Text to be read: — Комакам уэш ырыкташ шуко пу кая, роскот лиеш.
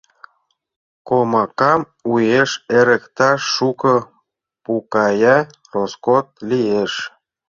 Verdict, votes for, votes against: rejected, 1, 2